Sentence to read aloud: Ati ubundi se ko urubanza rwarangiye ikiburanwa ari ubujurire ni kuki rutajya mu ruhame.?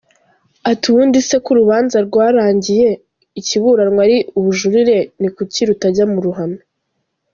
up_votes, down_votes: 2, 0